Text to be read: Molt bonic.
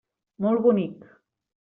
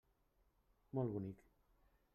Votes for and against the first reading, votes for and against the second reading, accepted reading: 3, 0, 0, 2, first